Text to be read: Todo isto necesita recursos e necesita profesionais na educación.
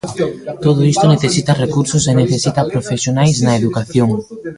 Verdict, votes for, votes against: rejected, 0, 2